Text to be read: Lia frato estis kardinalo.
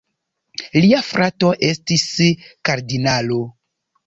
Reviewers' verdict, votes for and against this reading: rejected, 1, 2